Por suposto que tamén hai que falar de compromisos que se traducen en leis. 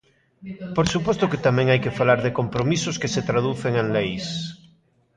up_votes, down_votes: 0, 2